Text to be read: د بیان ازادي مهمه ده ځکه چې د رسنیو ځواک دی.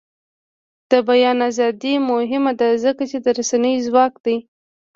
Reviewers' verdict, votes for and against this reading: rejected, 0, 2